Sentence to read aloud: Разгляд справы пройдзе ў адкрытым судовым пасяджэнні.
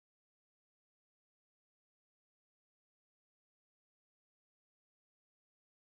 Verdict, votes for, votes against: rejected, 0, 2